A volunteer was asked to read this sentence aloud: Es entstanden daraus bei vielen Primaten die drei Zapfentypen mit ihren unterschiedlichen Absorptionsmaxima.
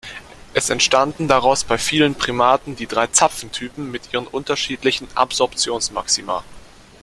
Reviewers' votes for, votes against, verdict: 2, 0, accepted